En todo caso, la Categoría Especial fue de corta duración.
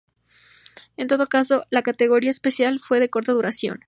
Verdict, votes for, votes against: accepted, 2, 0